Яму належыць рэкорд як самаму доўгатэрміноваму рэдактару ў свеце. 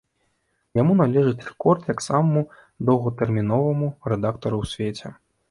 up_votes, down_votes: 2, 0